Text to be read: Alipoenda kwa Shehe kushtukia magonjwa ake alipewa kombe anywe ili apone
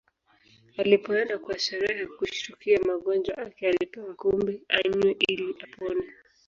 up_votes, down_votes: 1, 2